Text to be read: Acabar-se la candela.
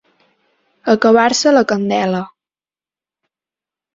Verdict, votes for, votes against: accepted, 3, 0